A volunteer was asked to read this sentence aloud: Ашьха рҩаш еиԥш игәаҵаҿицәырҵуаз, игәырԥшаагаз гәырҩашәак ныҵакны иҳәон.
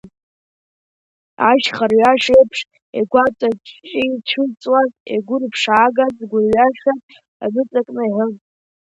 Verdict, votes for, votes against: accepted, 2, 1